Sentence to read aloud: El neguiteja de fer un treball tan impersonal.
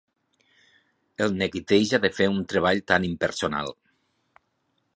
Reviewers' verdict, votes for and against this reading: accepted, 4, 0